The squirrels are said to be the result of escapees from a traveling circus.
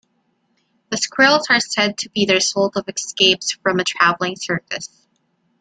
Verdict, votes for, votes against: rejected, 1, 2